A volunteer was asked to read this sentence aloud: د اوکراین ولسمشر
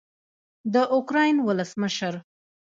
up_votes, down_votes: 0, 2